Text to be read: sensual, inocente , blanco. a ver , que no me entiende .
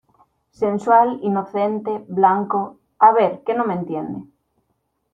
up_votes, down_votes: 2, 1